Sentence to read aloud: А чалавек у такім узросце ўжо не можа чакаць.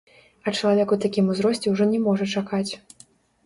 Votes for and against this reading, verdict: 0, 2, rejected